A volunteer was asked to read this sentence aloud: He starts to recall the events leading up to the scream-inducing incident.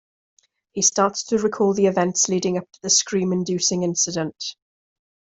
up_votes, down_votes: 2, 0